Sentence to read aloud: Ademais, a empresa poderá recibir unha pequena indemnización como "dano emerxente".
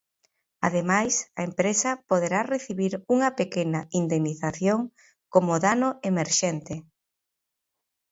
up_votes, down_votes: 2, 0